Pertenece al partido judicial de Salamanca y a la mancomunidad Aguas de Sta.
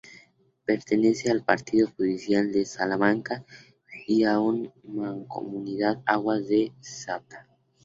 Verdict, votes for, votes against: rejected, 0, 4